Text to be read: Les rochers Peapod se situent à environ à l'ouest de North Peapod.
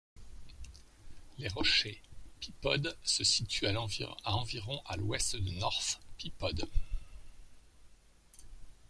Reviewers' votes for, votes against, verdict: 1, 2, rejected